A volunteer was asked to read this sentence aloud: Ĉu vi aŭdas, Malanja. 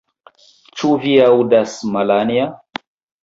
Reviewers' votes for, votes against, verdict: 1, 2, rejected